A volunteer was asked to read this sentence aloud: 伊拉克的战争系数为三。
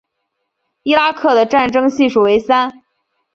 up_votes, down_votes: 4, 0